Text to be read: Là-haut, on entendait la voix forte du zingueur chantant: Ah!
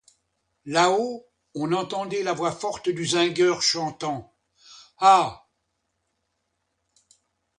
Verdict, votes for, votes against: accepted, 2, 0